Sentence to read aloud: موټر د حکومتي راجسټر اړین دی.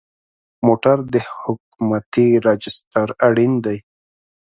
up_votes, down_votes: 2, 0